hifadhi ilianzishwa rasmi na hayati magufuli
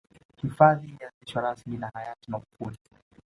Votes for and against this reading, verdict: 2, 0, accepted